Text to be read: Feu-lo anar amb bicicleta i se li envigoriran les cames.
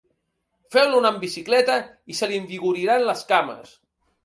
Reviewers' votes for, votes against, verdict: 2, 0, accepted